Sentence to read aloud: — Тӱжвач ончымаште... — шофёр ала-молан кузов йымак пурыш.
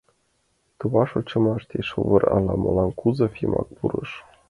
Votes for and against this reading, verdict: 1, 2, rejected